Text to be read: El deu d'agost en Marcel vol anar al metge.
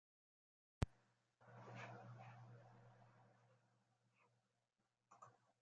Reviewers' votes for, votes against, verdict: 0, 2, rejected